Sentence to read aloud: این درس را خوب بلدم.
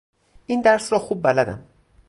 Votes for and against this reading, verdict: 4, 0, accepted